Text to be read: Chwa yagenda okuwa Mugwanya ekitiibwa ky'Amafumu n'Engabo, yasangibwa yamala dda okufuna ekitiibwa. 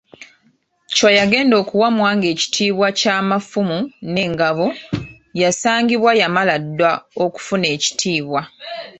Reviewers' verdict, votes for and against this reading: rejected, 1, 2